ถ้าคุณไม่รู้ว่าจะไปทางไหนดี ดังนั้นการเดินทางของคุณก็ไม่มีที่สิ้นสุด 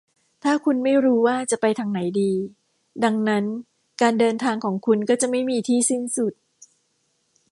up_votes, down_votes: 0, 2